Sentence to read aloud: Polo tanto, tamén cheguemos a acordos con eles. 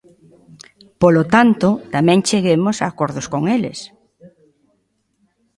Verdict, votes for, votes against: accepted, 2, 0